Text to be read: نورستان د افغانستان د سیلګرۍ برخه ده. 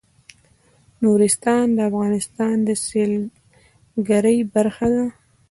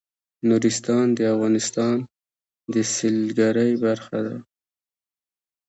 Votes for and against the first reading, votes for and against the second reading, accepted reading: 2, 0, 1, 2, first